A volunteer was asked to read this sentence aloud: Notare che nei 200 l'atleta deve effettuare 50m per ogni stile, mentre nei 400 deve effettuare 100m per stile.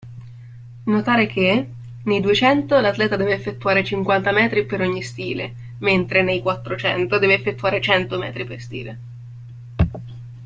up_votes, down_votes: 0, 2